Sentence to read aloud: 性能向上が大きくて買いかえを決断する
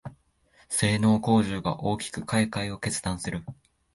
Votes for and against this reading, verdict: 3, 0, accepted